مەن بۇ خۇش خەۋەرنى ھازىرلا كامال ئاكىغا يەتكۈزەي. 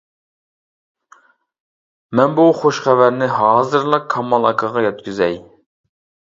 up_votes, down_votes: 2, 0